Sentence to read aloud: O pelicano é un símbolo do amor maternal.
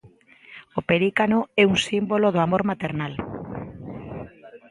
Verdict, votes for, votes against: rejected, 1, 2